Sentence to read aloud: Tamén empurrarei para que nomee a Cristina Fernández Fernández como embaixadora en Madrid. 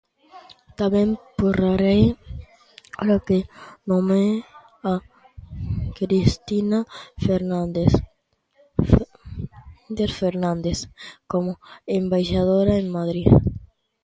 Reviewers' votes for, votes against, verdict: 0, 2, rejected